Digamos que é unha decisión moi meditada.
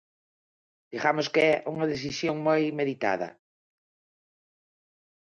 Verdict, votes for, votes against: accepted, 4, 0